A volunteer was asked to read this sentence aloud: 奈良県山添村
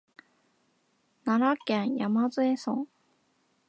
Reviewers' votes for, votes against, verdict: 2, 4, rejected